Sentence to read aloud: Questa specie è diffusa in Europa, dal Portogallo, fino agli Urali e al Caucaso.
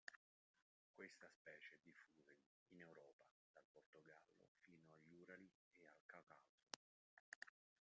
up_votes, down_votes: 1, 2